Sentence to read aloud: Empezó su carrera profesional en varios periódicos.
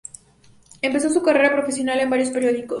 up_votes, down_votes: 2, 0